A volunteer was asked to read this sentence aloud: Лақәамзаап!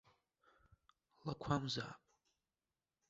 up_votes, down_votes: 1, 2